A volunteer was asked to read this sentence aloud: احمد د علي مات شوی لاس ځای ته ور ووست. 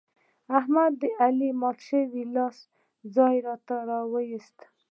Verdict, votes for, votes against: rejected, 1, 2